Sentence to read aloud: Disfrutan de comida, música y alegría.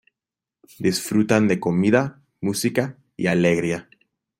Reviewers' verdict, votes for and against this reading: accepted, 3, 0